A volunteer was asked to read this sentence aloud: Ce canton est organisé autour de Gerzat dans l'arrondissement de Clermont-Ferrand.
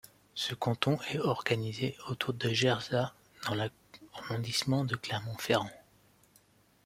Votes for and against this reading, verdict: 1, 2, rejected